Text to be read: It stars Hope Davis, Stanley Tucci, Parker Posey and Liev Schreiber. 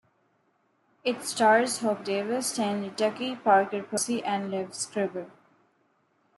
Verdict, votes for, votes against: rejected, 0, 2